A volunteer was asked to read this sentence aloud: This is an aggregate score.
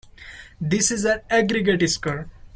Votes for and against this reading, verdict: 1, 2, rejected